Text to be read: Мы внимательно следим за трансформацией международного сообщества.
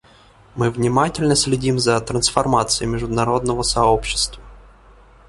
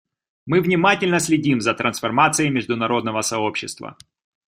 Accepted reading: second